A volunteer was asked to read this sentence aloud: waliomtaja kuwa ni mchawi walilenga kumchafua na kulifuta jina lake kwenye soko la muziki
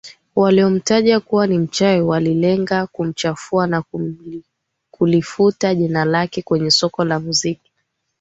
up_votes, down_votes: 0, 2